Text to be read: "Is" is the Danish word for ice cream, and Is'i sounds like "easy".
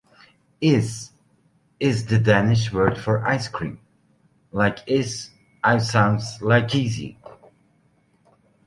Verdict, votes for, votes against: rejected, 0, 2